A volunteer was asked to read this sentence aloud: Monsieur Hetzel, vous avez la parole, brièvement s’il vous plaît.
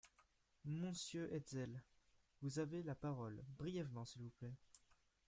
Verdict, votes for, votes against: rejected, 1, 2